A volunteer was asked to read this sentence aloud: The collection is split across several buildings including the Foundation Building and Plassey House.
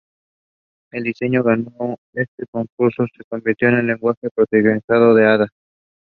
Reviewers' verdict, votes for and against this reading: rejected, 0, 3